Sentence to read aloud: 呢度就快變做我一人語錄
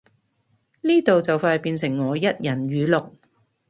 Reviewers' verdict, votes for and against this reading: rejected, 0, 2